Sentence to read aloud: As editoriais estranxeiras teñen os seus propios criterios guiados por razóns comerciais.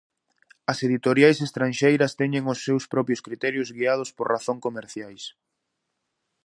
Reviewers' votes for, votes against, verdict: 0, 2, rejected